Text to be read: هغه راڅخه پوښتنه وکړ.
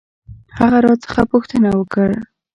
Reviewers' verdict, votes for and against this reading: accepted, 2, 0